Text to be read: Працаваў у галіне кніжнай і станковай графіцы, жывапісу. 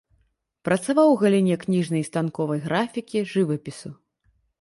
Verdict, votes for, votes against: rejected, 1, 2